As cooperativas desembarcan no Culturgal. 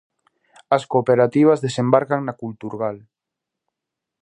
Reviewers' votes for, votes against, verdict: 0, 2, rejected